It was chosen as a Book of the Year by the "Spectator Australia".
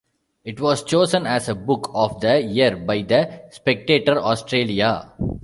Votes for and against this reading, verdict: 2, 0, accepted